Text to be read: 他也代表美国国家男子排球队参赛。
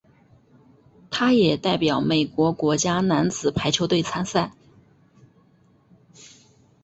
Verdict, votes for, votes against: accepted, 3, 0